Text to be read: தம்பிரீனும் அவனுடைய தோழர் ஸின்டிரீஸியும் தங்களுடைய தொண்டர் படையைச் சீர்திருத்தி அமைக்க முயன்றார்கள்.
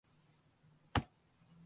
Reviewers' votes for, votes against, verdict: 0, 2, rejected